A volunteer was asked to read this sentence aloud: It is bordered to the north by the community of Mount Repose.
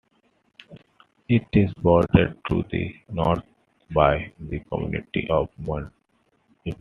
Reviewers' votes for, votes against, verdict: 1, 2, rejected